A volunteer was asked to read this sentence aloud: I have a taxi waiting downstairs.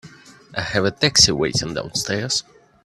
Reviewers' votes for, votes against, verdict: 3, 0, accepted